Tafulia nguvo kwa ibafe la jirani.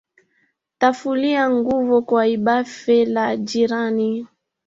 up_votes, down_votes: 1, 2